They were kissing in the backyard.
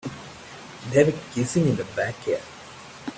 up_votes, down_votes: 2, 3